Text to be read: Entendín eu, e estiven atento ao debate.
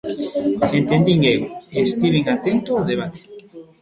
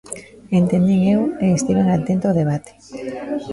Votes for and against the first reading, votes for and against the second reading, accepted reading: 1, 2, 2, 1, second